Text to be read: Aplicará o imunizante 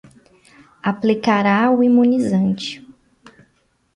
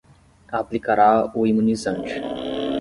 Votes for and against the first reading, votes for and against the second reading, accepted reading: 2, 0, 5, 5, first